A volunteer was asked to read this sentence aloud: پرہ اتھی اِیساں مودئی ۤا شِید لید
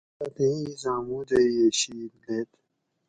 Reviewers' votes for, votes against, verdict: 2, 2, rejected